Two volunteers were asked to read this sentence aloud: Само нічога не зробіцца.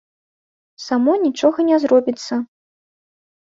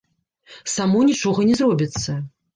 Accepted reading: first